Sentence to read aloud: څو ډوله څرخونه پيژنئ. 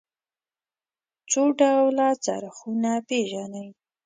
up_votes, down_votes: 2, 0